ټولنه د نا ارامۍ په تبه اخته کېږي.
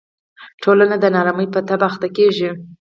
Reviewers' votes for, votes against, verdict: 4, 0, accepted